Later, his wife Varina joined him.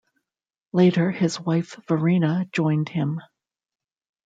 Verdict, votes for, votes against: rejected, 0, 2